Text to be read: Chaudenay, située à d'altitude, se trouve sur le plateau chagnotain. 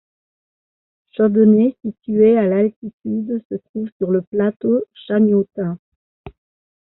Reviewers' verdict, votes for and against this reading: rejected, 1, 2